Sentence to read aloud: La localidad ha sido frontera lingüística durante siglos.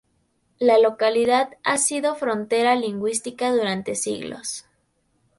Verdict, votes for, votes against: rejected, 0, 2